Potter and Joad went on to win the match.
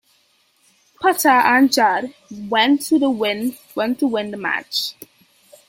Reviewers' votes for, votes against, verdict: 0, 2, rejected